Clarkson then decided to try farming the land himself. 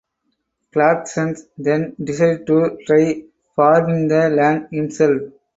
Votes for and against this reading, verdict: 2, 2, rejected